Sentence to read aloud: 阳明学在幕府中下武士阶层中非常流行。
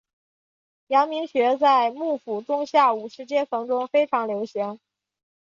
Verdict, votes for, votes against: accepted, 8, 0